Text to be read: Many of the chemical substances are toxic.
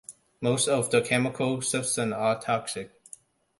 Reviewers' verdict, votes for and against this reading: rejected, 1, 2